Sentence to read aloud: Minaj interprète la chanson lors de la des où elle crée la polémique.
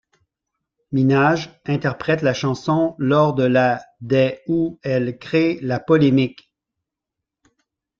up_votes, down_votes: 1, 2